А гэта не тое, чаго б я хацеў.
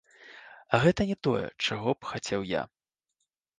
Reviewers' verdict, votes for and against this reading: accepted, 2, 1